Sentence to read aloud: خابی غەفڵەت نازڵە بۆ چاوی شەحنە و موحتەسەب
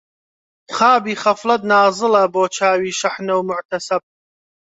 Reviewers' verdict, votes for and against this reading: accepted, 2, 0